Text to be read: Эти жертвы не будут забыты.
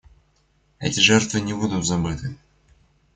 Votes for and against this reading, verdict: 2, 0, accepted